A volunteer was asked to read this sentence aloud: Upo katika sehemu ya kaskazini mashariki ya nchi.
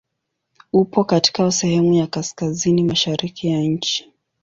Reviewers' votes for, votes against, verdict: 5, 0, accepted